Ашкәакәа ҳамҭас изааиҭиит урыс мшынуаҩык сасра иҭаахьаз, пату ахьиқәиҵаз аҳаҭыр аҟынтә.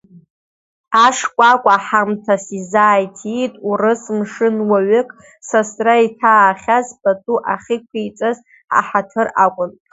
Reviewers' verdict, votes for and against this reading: accepted, 3, 2